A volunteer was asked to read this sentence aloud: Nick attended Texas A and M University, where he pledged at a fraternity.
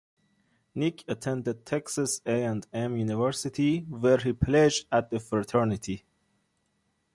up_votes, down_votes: 2, 1